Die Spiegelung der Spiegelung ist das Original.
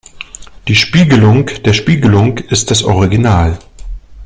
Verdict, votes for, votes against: accepted, 2, 0